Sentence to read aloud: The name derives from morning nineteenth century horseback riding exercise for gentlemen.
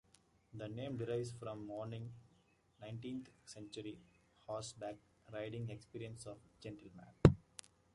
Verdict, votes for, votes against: rejected, 0, 2